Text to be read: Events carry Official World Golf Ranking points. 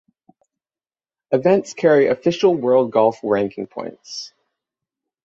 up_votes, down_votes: 3, 3